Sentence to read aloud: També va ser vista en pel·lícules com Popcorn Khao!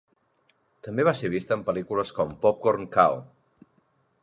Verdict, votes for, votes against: accepted, 2, 0